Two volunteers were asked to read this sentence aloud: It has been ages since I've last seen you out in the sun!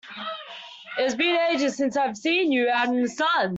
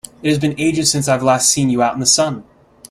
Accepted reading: second